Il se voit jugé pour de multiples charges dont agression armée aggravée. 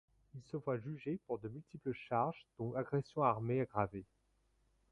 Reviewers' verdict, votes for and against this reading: rejected, 0, 2